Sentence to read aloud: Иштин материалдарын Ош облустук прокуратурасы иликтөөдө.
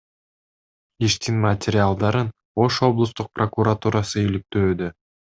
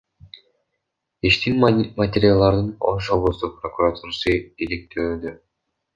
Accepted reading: first